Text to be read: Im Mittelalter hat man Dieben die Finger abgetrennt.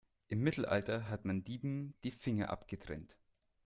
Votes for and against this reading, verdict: 2, 0, accepted